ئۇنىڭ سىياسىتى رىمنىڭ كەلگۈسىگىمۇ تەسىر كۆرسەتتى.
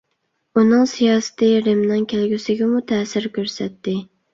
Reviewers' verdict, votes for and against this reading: accepted, 3, 0